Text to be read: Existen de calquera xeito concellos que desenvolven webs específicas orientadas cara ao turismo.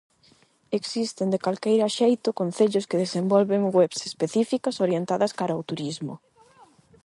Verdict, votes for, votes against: rejected, 0, 8